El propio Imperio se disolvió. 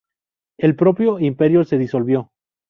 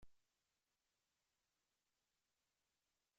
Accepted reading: first